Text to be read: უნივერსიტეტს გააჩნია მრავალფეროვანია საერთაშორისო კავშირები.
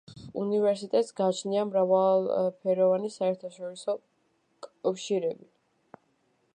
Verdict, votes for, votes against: rejected, 0, 2